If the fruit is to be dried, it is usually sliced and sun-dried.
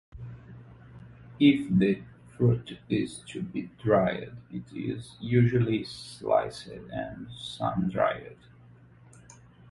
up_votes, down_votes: 2, 0